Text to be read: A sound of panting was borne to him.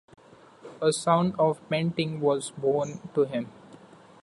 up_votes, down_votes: 1, 2